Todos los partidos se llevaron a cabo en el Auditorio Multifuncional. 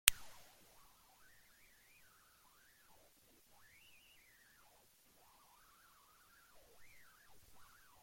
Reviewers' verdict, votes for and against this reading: rejected, 0, 2